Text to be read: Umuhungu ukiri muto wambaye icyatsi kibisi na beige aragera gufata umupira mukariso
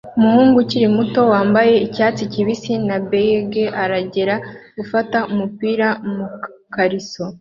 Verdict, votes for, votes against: accepted, 2, 1